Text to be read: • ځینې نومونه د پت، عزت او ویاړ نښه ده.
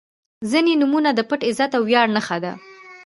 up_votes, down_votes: 2, 1